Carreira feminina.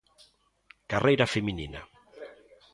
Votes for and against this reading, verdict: 2, 0, accepted